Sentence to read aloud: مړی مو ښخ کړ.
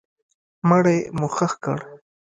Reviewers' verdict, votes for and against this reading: accepted, 2, 0